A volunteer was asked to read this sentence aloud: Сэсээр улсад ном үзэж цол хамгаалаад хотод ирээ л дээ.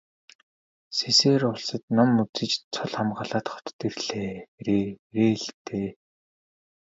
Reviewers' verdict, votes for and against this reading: rejected, 0, 2